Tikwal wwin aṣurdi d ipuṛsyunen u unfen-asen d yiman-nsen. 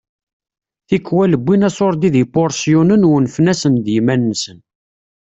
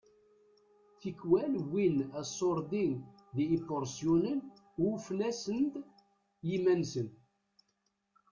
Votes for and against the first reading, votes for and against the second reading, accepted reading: 2, 0, 0, 2, first